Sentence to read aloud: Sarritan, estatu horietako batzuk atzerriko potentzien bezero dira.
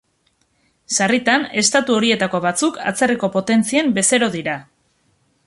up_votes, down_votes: 2, 0